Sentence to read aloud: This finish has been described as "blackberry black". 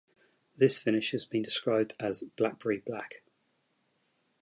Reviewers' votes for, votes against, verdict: 2, 0, accepted